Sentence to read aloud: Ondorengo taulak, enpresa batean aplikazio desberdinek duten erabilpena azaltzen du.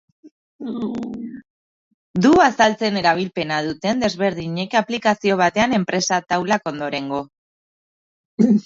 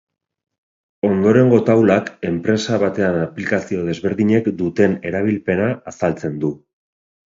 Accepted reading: second